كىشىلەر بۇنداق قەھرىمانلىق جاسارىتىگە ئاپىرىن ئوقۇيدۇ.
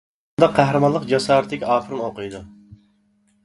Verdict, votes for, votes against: rejected, 0, 2